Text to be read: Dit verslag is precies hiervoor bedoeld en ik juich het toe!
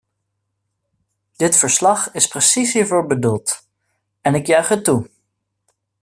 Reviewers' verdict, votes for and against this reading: accepted, 2, 0